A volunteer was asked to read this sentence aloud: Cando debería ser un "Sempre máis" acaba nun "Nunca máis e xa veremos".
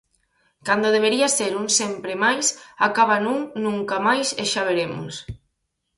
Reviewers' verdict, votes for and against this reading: accepted, 4, 0